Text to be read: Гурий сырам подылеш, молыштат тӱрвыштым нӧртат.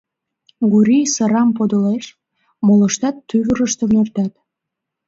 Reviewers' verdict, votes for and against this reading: rejected, 1, 2